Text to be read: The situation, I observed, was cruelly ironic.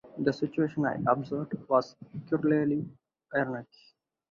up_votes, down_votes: 0, 2